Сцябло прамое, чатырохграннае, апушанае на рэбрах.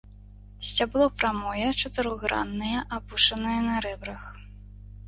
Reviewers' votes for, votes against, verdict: 2, 0, accepted